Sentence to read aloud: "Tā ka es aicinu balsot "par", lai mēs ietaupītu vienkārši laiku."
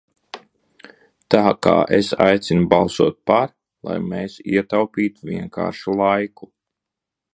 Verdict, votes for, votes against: rejected, 0, 2